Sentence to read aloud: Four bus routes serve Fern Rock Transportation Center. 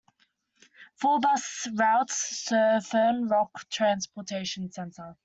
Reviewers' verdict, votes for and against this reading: accepted, 2, 0